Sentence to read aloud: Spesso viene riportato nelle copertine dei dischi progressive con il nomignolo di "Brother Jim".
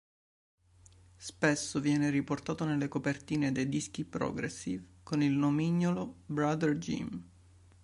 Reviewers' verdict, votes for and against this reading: rejected, 1, 2